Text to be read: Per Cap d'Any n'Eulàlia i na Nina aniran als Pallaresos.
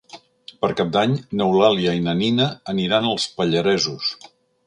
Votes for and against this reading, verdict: 4, 0, accepted